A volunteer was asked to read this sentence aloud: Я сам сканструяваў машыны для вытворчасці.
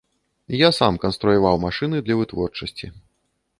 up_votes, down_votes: 0, 2